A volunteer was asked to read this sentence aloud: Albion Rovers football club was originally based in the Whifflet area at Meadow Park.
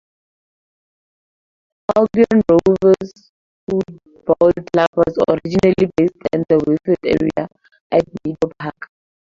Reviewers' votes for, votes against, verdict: 0, 4, rejected